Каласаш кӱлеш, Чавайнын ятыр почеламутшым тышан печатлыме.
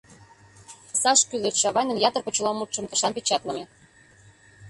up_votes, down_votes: 0, 2